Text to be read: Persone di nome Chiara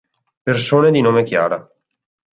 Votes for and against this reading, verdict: 2, 0, accepted